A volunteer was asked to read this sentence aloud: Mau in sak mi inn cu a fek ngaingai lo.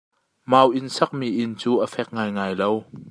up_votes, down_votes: 2, 0